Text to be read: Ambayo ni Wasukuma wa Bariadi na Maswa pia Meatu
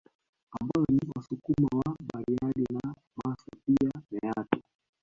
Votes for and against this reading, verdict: 1, 2, rejected